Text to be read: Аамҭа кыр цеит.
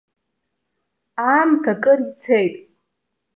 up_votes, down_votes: 2, 0